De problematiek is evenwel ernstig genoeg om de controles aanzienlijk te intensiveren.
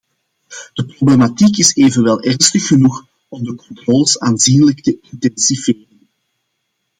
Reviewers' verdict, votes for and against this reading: rejected, 1, 2